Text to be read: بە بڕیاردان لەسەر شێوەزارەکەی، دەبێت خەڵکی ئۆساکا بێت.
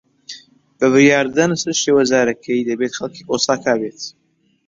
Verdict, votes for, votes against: accepted, 5, 2